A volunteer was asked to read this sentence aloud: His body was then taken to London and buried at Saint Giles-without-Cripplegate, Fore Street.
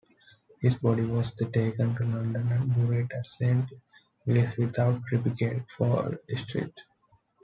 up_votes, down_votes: 0, 2